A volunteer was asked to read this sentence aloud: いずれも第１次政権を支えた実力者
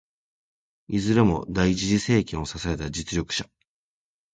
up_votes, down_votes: 0, 2